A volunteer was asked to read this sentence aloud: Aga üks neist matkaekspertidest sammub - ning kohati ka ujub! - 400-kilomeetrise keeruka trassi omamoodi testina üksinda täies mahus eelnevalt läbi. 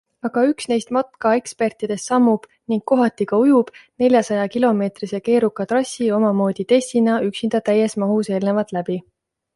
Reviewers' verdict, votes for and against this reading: rejected, 0, 2